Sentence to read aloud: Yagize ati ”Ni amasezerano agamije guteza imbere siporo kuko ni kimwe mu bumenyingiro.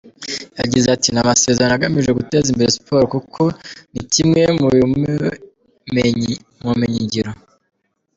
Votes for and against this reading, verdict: 1, 2, rejected